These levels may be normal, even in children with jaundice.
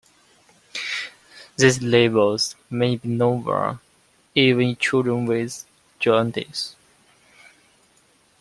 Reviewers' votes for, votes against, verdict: 1, 2, rejected